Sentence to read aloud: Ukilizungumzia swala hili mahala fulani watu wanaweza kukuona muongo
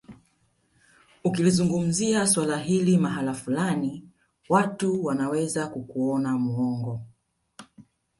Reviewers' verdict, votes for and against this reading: rejected, 0, 2